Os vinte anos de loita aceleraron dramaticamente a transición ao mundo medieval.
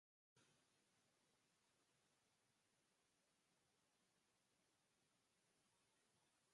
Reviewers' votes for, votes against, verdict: 0, 4, rejected